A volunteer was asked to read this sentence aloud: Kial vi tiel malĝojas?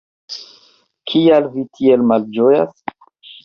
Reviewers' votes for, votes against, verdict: 2, 0, accepted